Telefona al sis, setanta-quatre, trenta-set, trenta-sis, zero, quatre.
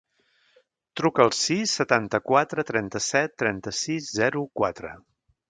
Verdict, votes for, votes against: rejected, 0, 2